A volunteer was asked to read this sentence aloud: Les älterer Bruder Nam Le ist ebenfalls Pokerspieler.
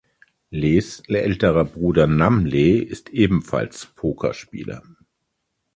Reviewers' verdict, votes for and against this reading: rejected, 1, 2